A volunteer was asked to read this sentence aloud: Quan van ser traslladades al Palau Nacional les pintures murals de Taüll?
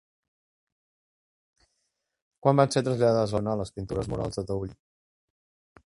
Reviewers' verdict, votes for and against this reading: rejected, 0, 2